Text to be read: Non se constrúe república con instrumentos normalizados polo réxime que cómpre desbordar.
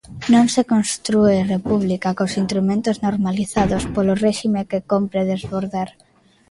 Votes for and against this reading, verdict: 0, 2, rejected